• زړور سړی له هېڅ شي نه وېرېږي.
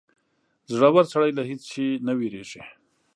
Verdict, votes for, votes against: accepted, 2, 0